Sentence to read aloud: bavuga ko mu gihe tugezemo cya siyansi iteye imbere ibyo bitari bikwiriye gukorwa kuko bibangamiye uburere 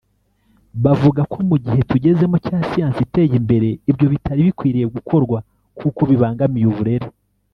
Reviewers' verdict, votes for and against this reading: rejected, 0, 2